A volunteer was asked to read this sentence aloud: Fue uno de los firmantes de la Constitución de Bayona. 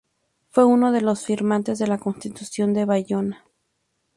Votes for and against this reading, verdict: 4, 0, accepted